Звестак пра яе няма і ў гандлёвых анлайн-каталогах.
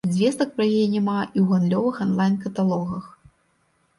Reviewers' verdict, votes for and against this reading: accepted, 2, 0